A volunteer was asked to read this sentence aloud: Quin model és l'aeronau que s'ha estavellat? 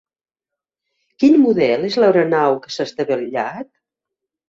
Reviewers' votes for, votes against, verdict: 2, 0, accepted